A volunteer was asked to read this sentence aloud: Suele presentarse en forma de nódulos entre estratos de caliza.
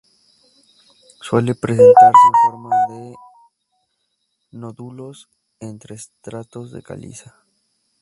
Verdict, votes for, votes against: rejected, 0, 2